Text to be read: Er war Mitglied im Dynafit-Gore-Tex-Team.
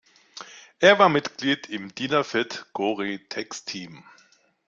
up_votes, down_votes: 2, 0